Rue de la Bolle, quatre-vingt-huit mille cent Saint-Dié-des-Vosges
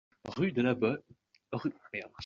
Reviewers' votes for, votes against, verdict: 0, 2, rejected